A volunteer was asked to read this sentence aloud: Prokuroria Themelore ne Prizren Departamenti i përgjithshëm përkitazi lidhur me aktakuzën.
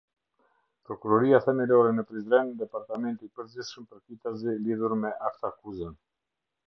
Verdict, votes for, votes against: accepted, 2, 0